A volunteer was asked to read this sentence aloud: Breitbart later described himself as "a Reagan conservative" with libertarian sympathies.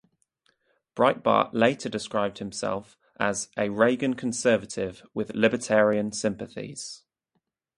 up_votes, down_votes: 4, 0